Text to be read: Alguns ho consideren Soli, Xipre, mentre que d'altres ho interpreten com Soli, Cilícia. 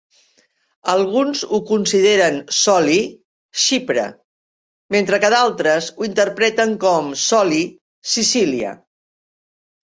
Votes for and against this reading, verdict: 1, 2, rejected